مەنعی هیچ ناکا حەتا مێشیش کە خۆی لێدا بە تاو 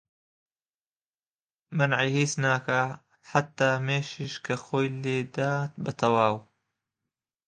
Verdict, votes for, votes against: rejected, 0, 2